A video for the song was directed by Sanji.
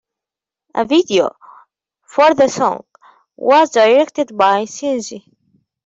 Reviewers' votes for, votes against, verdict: 1, 2, rejected